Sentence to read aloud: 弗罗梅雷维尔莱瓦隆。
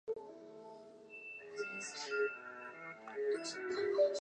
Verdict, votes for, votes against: rejected, 3, 4